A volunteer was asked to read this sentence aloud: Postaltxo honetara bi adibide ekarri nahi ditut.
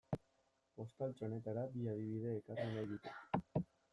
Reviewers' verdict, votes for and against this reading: rejected, 0, 2